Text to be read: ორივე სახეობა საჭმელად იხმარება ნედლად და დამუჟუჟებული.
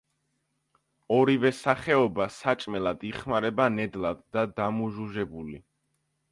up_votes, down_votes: 2, 0